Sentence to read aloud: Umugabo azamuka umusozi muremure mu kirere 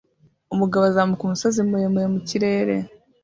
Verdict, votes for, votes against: rejected, 1, 2